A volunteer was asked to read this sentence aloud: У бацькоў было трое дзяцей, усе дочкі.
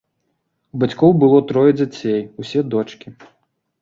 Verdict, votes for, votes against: accepted, 2, 0